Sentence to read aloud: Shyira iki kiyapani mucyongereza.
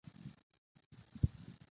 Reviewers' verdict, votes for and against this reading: rejected, 0, 2